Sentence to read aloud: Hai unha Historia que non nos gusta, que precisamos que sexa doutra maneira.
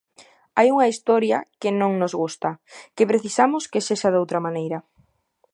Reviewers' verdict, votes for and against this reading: accepted, 2, 0